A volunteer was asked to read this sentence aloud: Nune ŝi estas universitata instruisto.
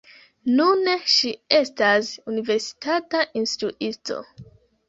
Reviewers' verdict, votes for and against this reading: rejected, 2, 3